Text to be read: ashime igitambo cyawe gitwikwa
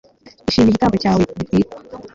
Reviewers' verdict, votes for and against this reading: accepted, 2, 0